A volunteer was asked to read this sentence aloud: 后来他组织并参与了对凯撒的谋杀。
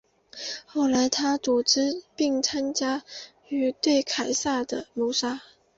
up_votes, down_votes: 2, 2